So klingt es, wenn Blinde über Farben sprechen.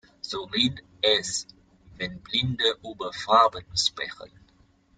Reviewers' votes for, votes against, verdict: 1, 2, rejected